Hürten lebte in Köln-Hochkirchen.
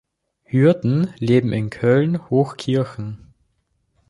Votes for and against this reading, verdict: 1, 2, rejected